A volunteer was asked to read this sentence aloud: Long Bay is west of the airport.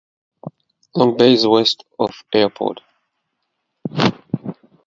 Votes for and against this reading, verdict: 2, 2, rejected